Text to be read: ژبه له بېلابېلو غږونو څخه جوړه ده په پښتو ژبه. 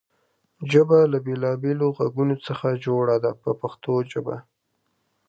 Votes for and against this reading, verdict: 2, 1, accepted